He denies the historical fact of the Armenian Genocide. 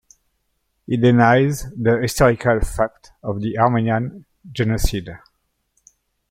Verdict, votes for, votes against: rejected, 1, 3